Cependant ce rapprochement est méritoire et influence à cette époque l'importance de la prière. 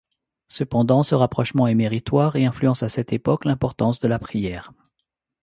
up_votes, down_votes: 2, 0